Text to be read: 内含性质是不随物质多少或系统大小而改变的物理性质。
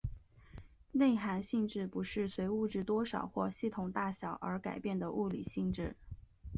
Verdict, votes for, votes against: rejected, 1, 5